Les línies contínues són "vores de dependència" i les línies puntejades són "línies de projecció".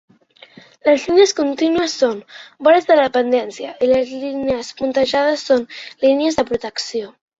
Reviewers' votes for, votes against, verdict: 0, 3, rejected